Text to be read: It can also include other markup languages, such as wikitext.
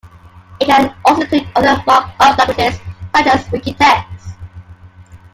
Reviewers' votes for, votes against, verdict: 2, 1, accepted